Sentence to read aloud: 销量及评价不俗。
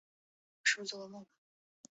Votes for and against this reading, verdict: 0, 3, rejected